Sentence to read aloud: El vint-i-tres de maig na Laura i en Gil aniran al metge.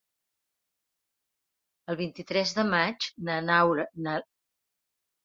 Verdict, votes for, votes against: rejected, 0, 2